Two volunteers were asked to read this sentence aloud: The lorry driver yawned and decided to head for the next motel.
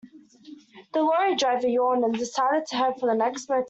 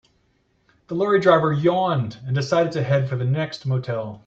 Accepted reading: second